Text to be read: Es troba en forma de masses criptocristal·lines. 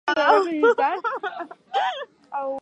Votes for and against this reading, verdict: 0, 4, rejected